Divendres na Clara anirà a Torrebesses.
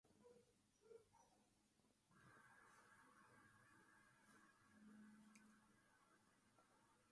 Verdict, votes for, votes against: rejected, 0, 2